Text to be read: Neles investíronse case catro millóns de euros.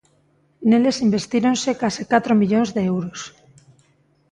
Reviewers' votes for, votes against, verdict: 2, 0, accepted